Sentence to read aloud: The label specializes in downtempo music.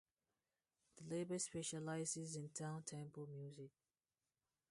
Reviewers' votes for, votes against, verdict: 2, 0, accepted